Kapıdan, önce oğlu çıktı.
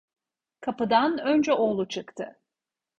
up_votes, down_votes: 2, 0